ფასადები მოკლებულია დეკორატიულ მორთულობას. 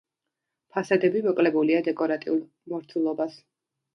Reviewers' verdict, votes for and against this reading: rejected, 1, 2